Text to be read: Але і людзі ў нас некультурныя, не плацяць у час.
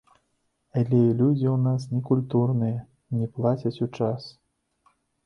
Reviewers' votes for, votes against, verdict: 0, 2, rejected